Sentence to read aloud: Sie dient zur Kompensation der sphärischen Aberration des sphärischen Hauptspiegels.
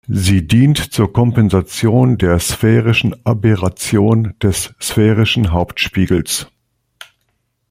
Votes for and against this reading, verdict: 2, 0, accepted